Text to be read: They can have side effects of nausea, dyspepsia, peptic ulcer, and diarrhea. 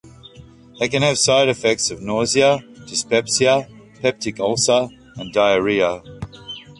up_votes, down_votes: 1, 2